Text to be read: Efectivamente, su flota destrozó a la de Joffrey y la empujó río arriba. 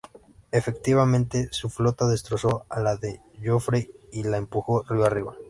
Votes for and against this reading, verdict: 2, 0, accepted